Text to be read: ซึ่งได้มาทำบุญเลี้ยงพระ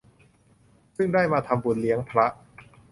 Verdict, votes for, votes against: accepted, 2, 0